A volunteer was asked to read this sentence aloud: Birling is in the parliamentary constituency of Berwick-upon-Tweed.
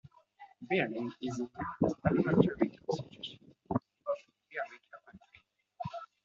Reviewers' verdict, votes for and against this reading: rejected, 1, 2